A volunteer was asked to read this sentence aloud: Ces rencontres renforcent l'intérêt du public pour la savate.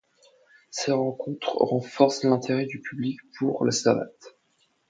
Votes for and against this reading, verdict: 2, 0, accepted